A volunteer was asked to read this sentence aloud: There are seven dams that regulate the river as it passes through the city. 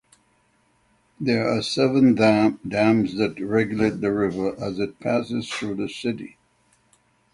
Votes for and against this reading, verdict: 0, 6, rejected